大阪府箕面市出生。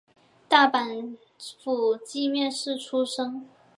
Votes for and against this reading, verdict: 3, 1, accepted